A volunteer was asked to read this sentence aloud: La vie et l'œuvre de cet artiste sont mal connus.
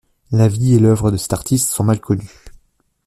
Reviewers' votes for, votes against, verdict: 2, 0, accepted